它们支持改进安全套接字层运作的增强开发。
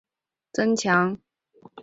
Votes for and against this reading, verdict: 1, 4, rejected